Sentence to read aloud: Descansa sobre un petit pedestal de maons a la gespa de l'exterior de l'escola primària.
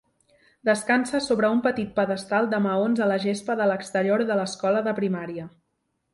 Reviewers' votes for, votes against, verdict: 1, 2, rejected